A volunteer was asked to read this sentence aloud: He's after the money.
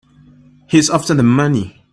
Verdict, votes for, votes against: accepted, 2, 0